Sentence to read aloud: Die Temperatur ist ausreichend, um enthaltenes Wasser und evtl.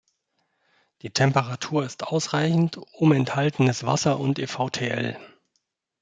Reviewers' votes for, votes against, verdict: 0, 2, rejected